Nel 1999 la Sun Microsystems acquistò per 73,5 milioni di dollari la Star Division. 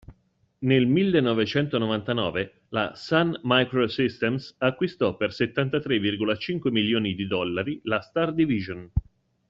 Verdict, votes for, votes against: rejected, 0, 2